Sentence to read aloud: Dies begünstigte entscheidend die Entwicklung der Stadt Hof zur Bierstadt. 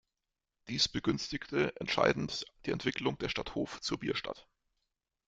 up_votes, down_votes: 1, 2